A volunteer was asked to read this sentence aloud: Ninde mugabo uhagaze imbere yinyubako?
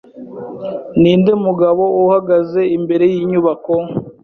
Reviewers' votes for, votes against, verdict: 2, 0, accepted